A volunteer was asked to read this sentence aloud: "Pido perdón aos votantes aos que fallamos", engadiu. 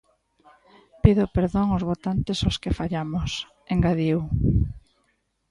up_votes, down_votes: 2, 0